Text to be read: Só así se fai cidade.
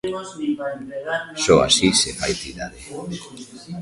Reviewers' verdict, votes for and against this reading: rejected, 1, 2